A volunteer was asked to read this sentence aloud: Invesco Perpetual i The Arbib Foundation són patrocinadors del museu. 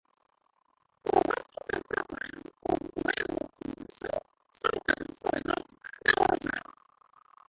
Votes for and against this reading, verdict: 0, 2, rejected